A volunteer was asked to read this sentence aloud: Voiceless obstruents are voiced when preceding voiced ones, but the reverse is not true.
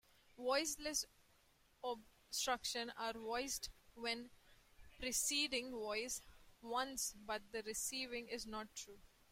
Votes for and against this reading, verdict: 0, 2, rejected